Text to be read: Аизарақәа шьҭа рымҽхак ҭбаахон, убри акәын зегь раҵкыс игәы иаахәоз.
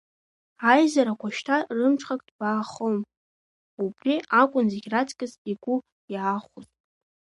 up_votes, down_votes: 2, 1